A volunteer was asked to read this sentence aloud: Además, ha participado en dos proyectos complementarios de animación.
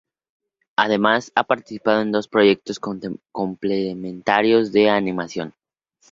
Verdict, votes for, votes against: rejected, 0, 2